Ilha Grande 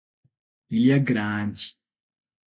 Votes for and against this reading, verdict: 3, 3, rejected